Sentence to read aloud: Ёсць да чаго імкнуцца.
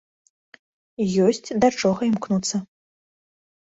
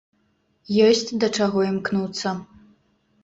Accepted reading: second